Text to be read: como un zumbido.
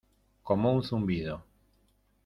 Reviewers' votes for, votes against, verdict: 2, 0, accepted